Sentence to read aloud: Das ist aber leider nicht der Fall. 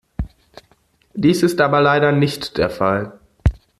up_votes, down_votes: 0, 2